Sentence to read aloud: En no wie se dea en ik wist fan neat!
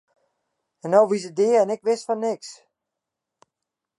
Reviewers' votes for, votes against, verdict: 0, 2, rejected